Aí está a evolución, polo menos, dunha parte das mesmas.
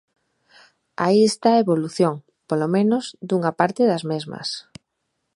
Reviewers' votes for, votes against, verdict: 2, 0, accepted